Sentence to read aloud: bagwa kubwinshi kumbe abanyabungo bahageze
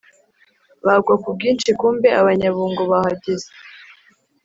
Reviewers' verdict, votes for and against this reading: accepted, 3, 0